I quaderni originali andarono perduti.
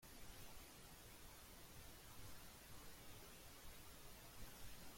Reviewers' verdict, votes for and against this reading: rejected, 1, 2